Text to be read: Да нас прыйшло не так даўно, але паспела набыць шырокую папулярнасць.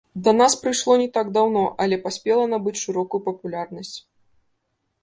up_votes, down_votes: 0, 2